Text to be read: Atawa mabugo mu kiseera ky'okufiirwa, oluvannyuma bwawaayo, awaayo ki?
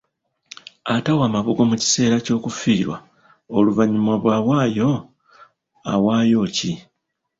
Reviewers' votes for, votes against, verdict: 2, 0, accepted